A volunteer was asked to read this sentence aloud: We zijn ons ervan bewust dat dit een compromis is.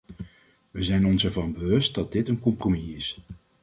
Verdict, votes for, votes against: accepted, 2, 0